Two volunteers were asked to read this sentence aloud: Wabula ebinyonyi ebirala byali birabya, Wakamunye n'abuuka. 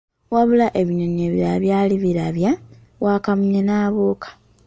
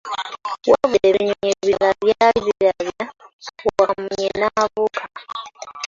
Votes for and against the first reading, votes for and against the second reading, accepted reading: 2, 1, 1, 2, first